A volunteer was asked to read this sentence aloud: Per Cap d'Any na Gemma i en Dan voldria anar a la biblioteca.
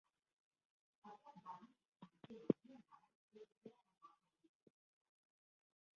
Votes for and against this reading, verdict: 0, 2, rejected